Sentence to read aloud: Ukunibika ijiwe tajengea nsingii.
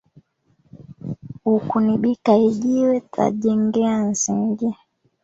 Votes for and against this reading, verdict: 1, 2, rejected